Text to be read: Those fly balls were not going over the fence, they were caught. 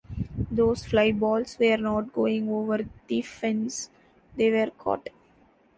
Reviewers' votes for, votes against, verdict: 2, 0, accepted